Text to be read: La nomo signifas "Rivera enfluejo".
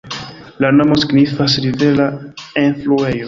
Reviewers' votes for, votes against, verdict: 2, 1, accepted